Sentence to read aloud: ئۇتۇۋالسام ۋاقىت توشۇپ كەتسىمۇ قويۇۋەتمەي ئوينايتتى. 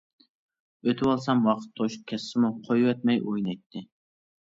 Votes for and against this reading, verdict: 0, 2, rejected